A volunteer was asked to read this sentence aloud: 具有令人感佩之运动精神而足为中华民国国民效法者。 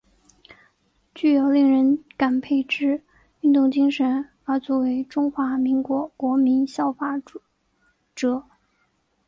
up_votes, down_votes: 1, 2